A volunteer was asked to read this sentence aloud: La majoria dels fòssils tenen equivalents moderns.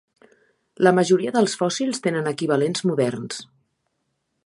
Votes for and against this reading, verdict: 9, 0, accepted